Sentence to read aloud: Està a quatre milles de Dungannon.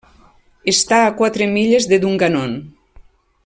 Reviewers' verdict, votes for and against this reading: accepted, 2, 0